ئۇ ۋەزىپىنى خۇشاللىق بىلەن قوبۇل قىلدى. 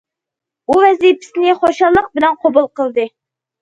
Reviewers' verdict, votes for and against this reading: rejected, 0, 2